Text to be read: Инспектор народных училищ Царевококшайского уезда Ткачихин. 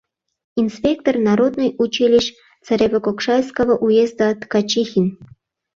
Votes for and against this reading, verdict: 0, 2, rejected